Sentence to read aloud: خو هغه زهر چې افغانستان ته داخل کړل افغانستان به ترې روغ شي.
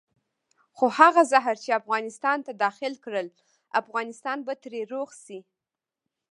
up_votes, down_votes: 2, 1